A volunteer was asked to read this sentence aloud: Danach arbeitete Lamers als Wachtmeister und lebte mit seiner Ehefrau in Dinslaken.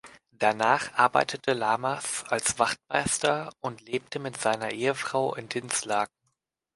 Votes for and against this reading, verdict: 2, 0, accepted